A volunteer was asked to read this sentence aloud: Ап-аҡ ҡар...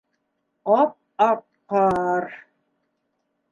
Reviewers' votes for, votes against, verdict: 2, 0, accepted